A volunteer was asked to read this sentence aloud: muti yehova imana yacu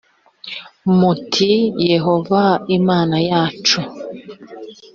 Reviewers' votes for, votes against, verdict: 2, 0, accepted